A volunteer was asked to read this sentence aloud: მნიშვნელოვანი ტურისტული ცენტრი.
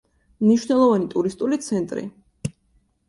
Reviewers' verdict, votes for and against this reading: accepted, 2, 0